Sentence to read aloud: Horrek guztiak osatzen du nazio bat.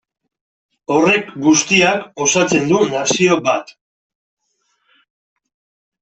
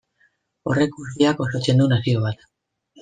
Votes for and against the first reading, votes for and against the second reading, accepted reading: 2, 0, 0, 2, first